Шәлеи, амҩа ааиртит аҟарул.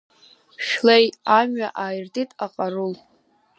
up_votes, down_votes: 2, 0